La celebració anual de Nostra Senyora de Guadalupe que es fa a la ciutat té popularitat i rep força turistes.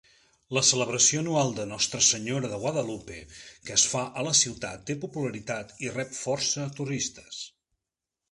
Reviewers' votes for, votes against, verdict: 3, 0, accepted